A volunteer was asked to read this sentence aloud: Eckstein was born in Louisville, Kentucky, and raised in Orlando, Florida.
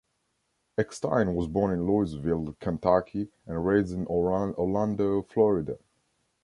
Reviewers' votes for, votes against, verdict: 1, 2, rejected